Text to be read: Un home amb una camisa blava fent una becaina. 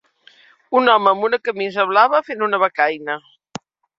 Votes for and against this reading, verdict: 3, 0, accepted